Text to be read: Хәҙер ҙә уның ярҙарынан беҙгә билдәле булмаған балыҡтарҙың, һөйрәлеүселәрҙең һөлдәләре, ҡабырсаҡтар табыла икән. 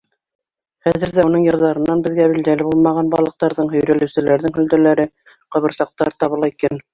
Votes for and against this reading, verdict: 2, 1, accepted